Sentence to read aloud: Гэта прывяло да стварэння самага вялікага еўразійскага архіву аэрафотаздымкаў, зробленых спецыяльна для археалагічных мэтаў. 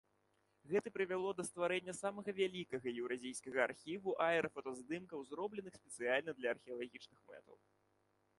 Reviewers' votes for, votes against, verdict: 2, 1, accepted